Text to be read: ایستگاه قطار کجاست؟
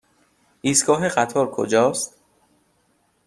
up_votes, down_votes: 3, 0